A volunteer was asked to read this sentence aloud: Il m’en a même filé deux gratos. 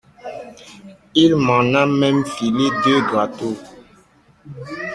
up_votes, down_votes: 1, 2